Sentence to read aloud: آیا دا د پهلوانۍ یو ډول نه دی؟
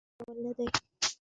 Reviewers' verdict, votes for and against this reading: rejected, 1, 2